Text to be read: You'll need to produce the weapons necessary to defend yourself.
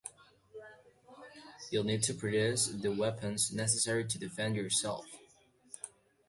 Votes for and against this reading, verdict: 2, 0, accepted